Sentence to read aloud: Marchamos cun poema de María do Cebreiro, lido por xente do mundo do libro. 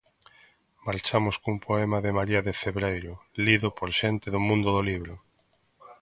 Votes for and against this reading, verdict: 0, 2, rejected